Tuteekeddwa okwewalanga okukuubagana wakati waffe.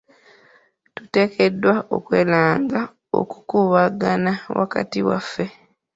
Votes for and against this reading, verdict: 2, 1, accepted